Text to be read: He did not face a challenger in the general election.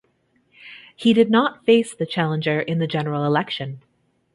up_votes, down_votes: 1, 2